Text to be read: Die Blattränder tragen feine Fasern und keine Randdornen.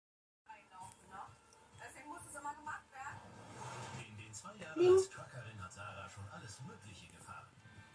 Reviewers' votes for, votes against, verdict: 0, 2, rejected